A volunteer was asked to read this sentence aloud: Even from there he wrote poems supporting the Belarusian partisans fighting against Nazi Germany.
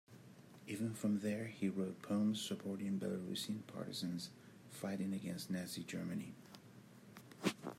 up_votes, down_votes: 1, 2